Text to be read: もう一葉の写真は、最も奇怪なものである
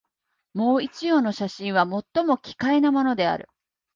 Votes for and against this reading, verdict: 2, 0, accepted